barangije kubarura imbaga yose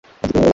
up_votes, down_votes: 0, 2